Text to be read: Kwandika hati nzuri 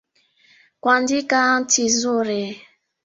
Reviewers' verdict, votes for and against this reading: rejected, 1, 2